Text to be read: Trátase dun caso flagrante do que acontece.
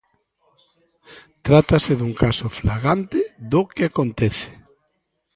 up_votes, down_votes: 0, 2